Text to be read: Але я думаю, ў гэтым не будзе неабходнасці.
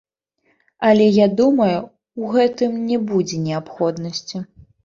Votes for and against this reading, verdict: 2, 1, accepted